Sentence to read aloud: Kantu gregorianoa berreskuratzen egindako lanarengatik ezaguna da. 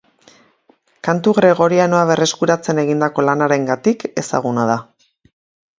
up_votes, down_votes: 2, 0